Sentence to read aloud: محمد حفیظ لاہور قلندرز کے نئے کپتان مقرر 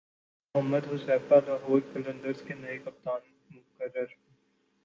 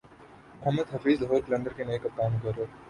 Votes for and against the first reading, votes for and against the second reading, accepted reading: 0, 2, 3, 0, second